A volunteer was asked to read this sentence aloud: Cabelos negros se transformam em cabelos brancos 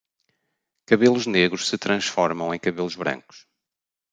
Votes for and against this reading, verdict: 2, 0, accepted